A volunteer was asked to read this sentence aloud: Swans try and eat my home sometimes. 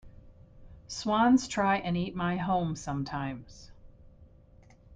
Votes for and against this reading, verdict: 2, 0, accepted